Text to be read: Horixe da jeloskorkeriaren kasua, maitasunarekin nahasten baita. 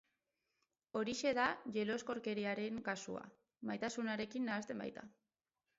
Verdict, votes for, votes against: rejected, 2, 2